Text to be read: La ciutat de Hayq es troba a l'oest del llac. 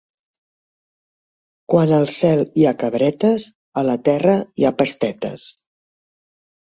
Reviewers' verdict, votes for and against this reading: rejected, 0, 3